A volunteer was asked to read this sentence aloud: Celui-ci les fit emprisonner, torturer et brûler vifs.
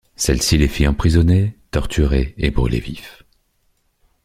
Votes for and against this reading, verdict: 0, 2, rejected